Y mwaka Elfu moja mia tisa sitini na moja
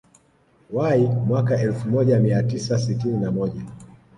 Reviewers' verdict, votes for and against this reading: accepted, 2, 0